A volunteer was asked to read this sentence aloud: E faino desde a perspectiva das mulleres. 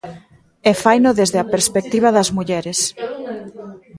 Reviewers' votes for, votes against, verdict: 0, 2, rejected